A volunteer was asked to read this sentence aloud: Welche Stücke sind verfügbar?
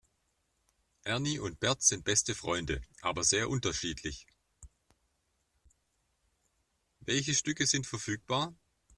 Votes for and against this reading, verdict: 1, 2, rejected